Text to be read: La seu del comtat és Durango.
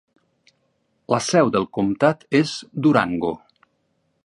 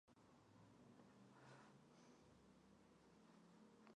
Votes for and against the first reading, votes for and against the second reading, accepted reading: 6, 0, 0, 2, first